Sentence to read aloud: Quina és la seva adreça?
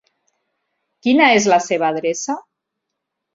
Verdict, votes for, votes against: rejected, 1, 2